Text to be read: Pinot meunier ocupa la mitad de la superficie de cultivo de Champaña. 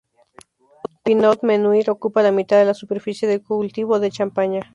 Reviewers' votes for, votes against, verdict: 0, 4, rejected